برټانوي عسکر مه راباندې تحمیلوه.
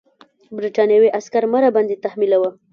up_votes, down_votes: 0, 2